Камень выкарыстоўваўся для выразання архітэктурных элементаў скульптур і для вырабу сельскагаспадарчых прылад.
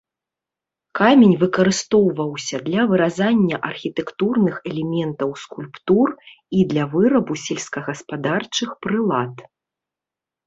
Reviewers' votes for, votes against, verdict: 1, 2, rejected